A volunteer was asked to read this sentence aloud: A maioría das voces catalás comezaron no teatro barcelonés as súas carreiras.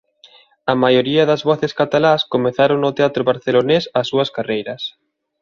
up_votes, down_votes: 2, 0